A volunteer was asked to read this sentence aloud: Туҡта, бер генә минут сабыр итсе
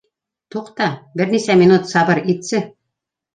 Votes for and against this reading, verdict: 3, 2, accepted